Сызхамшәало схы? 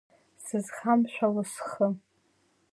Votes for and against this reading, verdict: 2, 0, accepted